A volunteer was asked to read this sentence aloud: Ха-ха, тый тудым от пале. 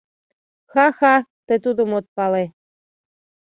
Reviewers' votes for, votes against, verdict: 2, 0, accepted